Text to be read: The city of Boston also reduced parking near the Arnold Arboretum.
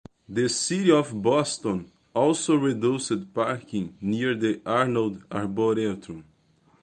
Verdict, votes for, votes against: accepted, 2, 0